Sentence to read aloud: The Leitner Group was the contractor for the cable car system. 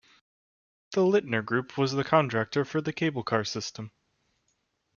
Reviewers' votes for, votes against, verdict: 1, 2, rejected